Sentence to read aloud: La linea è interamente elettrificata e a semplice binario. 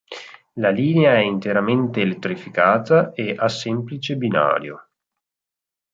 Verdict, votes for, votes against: accepted, 6, 0